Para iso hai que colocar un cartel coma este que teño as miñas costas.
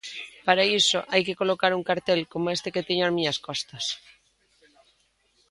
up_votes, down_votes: 2, 0